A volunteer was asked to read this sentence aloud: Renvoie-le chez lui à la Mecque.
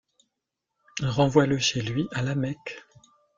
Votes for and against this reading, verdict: 3, 1, accepted